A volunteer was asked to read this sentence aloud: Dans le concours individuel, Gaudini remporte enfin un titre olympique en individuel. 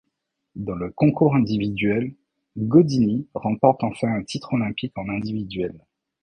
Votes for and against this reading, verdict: 2, 0, accepted